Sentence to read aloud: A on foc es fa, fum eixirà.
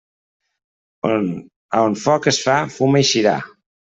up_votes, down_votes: 0, 2